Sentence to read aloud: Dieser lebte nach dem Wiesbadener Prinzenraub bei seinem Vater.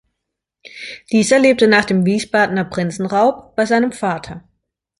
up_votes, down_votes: 2, 0